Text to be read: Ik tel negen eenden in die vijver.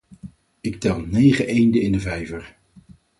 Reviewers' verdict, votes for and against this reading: rejected, 2, 4